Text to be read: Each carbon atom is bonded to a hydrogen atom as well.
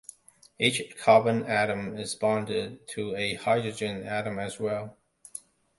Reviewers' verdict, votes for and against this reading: accepted, 2, 0